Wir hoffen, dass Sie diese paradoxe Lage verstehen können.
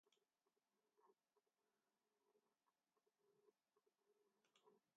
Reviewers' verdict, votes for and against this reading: rejected, 0, 2